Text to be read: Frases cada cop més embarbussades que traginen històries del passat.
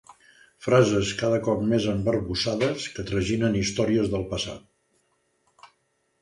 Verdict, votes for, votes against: accepted, 2, 0